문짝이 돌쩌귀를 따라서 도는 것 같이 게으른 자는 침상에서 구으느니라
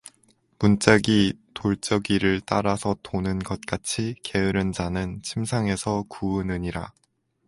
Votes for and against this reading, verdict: 2, 0, accepted